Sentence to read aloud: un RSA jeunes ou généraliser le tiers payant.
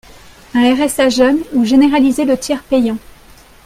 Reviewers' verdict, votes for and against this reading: accepted, 2, 0